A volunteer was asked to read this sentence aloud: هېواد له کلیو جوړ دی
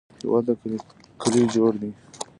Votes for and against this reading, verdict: 0, 2, rejected